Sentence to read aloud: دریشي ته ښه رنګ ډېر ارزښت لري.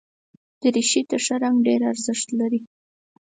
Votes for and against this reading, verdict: 4, 0, accepted